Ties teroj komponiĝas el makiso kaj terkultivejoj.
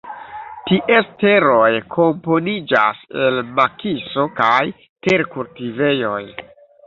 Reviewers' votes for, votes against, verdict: 2, 1, accepted